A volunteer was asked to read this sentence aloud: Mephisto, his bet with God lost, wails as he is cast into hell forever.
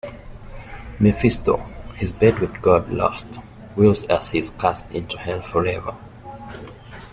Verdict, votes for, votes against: accepted, 2, 0